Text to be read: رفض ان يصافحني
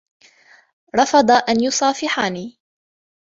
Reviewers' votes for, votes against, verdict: 2, 0, accepted